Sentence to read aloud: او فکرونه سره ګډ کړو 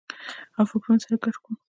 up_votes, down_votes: 1, 2